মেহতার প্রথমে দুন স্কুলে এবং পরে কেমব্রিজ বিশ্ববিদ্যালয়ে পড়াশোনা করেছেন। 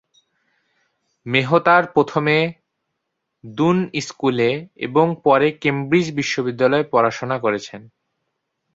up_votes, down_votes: 1, 2